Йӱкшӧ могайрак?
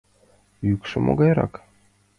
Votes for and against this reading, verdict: 2, 0, accepted